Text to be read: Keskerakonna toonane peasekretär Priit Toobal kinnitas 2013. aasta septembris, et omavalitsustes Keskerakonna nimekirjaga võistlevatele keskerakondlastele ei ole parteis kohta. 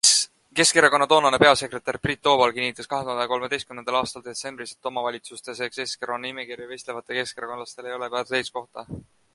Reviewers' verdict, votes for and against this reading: rejected, 0, 2